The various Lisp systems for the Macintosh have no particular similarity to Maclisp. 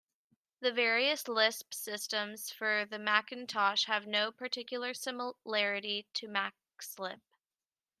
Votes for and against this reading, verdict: 1, 2, rejected